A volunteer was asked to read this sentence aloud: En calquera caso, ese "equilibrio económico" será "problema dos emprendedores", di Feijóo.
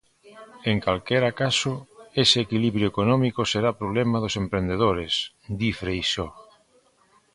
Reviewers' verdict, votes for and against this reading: rejected, 0, 2